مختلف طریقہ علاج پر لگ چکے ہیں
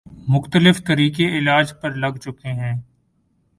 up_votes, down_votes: 2, 0